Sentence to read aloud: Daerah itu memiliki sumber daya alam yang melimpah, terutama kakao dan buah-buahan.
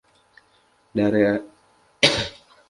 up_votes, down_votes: 0, 2